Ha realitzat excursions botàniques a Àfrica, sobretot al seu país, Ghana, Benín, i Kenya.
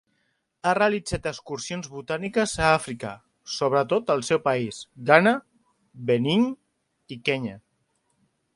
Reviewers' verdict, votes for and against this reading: accepted, 2, 0